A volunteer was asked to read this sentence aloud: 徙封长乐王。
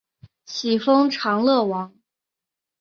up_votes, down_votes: 4, 0